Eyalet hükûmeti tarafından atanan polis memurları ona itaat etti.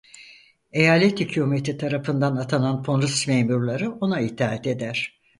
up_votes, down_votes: 0, 4